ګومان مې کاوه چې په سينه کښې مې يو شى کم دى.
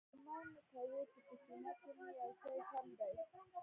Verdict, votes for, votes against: rejected, 2, 3